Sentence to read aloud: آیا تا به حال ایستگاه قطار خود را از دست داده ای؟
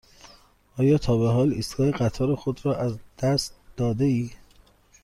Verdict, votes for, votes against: accepted, 2, 0